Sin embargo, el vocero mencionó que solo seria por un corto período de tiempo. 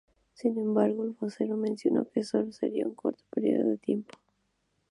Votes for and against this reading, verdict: 0, 2, rejected